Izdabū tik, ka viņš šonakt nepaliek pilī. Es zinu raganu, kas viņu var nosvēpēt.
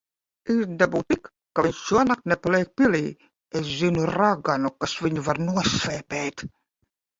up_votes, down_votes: 0, 2